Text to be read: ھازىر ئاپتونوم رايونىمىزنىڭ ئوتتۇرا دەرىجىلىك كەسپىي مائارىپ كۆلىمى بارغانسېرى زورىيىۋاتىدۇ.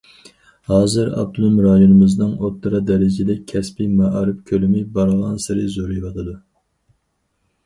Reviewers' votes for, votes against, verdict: 2, 4, rejected